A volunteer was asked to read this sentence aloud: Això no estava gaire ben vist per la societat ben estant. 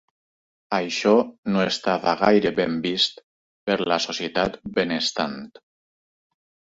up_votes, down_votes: 2, 0